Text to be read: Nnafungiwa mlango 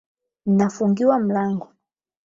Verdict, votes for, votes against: accepted, 8, 0